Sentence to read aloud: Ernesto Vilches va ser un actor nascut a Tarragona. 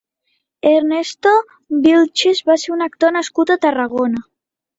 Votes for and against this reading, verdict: 3, 0, accepted